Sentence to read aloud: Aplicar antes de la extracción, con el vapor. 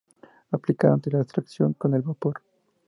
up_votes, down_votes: 2, 0